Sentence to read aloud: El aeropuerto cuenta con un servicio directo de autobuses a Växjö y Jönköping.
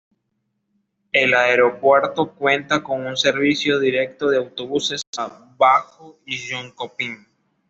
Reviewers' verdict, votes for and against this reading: accepted, 2, 1